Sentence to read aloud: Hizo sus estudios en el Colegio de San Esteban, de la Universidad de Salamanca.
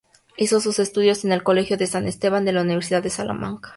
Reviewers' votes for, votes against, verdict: 4, 0, accepted